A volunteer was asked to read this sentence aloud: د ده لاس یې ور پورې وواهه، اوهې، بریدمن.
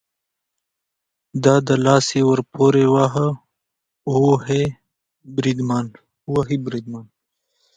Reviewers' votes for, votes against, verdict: 1, 2, rejected